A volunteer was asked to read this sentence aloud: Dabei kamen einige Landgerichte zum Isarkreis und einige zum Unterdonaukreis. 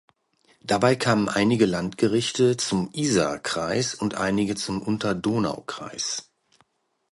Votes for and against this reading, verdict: 2, 0, accepted